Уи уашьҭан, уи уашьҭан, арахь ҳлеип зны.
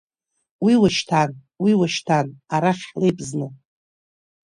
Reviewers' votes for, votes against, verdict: 1, 2, rejected